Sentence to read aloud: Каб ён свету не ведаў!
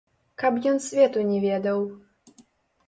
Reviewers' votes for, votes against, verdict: 0, 2, rejected